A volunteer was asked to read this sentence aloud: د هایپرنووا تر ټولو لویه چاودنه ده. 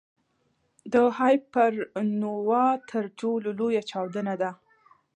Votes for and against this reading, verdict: 2, 0, accepted